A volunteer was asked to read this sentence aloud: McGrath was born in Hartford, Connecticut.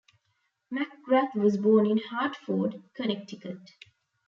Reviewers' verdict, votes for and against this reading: rejected, 1, 2